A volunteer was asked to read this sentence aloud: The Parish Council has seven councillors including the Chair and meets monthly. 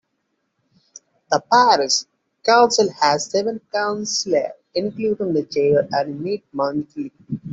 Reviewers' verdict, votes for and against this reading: rejected, 0, 2